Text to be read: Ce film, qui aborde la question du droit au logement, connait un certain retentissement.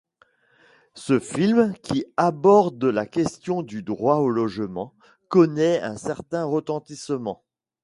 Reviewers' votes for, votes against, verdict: 2, 0, accepted